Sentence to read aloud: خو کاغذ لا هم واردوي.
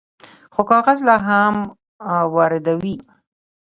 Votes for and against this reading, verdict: 0, 2, rejected